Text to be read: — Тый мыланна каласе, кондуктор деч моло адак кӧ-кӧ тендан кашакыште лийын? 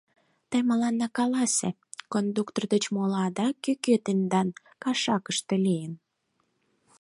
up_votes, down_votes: 4, 0